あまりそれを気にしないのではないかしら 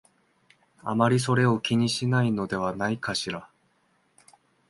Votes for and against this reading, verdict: 2, 1, accepted